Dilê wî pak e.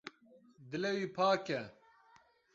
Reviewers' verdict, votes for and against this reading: rejected, 0, 2